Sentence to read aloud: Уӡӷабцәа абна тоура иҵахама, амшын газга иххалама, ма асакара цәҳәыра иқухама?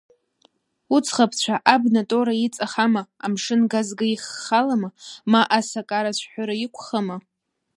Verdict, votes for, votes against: accepted, 2, 0